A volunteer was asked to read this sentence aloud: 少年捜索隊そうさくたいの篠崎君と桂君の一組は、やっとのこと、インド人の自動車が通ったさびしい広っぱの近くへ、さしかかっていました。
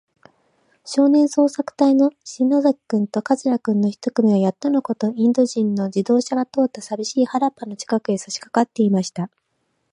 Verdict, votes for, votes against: rejected, 2, 2